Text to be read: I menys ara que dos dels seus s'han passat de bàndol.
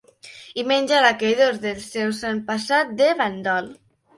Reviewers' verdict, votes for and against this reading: rejected, 0, 3